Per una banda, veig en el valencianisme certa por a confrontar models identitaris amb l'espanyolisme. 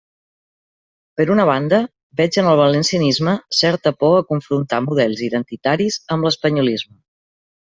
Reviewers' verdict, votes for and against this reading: rejected, 0, 2